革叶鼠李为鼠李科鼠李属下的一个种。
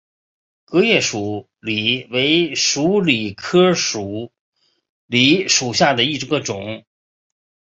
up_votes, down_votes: 2, 0